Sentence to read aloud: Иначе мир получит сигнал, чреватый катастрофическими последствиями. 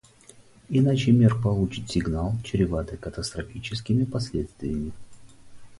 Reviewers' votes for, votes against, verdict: 4, 0, accepted